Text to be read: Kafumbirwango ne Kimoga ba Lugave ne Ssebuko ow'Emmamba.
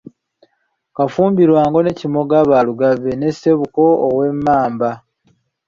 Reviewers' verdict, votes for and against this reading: accepted, 2, 0